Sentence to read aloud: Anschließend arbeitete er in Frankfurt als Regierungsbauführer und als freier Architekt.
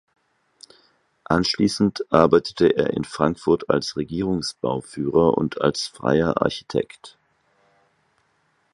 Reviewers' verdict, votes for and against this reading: accepted, 4, 0